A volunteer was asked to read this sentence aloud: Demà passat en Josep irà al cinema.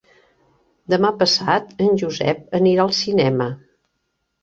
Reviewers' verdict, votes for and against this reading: rejected, 0, 2